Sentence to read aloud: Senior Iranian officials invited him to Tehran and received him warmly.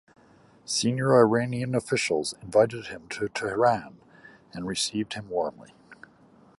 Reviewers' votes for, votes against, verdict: 2, 0, accepted